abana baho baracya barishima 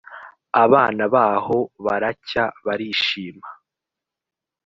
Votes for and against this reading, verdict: 2, 0, accepted